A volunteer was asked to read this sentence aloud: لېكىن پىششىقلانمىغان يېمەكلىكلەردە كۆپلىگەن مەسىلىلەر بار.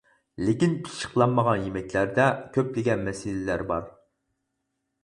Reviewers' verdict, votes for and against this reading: rejected, 2, 4